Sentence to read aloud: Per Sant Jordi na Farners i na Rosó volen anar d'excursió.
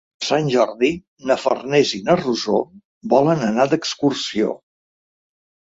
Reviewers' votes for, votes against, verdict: 1, 2, rejected